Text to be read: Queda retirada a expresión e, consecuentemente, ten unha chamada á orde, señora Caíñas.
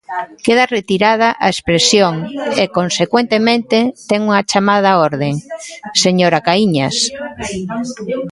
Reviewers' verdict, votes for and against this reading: accepted, 2, 1